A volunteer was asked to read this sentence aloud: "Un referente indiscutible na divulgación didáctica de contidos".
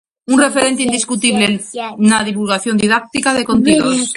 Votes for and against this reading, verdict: 0, 2, rejected